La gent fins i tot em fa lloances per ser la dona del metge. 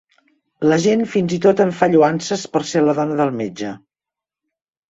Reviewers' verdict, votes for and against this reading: accepted, 2, 0